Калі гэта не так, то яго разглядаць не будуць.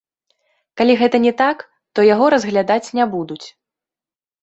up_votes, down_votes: 2, 3